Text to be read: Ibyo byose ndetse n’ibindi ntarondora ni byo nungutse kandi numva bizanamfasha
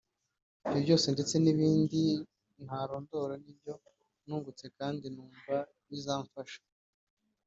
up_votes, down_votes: 1, 2